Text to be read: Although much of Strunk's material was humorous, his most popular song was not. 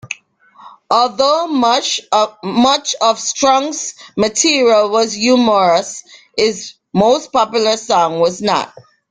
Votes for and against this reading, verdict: 0, 2, rejected